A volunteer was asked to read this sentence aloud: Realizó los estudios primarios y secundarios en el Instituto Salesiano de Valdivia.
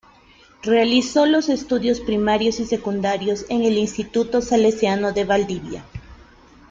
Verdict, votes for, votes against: accepted, 2, 0